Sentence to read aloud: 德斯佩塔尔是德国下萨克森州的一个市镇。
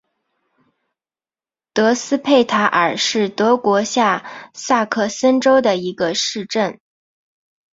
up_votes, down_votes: 3, 0